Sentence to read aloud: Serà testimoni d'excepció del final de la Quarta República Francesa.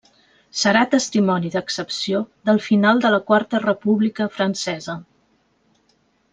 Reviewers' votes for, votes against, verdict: 3, 0, accepted